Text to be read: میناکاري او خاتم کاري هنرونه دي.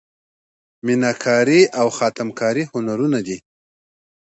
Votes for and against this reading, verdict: 2, 0, accepted